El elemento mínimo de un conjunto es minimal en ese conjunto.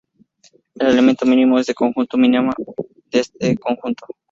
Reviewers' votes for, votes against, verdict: 0, 2, rejected